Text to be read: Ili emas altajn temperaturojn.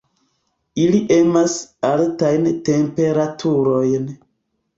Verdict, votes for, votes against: rejected, 1, 2